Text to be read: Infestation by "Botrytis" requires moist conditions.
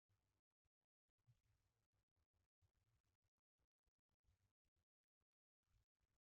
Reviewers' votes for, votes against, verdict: 0, 2, rejected